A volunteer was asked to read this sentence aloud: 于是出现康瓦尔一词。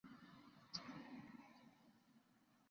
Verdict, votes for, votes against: rejected, 0, 2